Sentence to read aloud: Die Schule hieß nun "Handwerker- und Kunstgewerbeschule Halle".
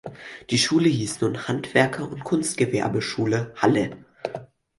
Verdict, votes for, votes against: accepted, 4, 0